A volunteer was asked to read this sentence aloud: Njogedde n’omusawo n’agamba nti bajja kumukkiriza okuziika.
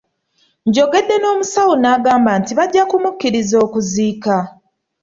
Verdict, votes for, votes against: accepted, 2, 0